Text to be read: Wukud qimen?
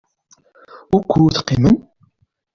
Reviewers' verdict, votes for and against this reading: accepted, 2, 0